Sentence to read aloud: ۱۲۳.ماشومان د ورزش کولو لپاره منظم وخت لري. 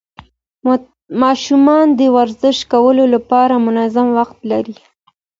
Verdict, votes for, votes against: rejected, 0, 2